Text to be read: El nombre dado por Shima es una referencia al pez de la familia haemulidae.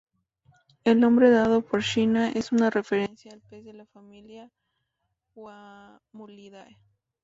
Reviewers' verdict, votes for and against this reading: rejected, 0, 2